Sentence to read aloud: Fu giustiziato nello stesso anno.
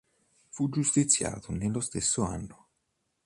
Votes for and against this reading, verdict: 2, 0, accepted